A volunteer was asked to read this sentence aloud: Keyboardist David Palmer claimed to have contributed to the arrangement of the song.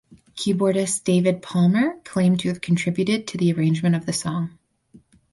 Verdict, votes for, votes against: rejected, 2, 2